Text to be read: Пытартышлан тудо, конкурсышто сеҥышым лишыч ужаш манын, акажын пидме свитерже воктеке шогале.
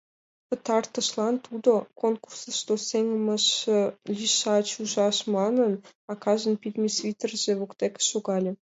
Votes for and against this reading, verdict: 2, 1, accepted